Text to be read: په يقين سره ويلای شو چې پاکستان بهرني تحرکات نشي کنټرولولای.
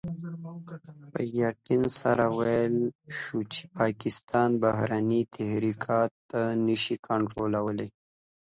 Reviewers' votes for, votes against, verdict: 2, 1, accepted